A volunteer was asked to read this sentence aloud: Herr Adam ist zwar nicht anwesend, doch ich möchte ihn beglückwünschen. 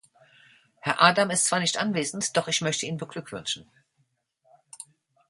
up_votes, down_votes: 2, 0